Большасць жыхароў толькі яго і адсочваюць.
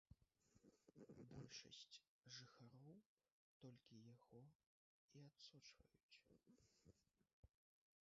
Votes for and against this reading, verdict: 2, 1, accepted